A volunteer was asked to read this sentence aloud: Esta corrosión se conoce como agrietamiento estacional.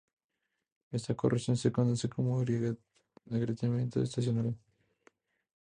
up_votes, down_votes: 2, 0